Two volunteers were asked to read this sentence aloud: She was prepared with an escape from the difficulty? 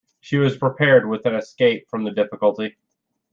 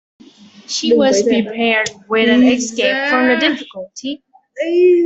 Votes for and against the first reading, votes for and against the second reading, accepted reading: 2, 0, 0, 2, first